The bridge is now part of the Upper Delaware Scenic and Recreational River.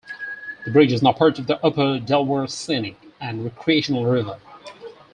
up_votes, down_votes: 4, 0